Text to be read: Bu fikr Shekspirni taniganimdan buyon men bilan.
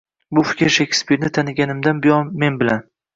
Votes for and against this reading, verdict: 2, 0, accepted